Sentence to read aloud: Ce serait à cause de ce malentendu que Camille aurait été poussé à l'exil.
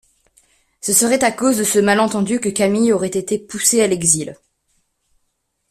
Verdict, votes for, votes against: accepted, 2, 0